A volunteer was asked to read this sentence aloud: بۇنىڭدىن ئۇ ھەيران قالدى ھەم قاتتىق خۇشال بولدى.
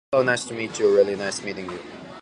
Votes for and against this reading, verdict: 0, 2, rejected